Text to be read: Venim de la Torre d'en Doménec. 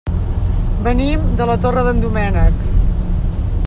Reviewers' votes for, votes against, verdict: 2, 0, accepted